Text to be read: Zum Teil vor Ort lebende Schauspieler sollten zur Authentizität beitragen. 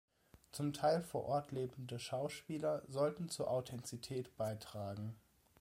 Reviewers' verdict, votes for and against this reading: accepted, 2, 0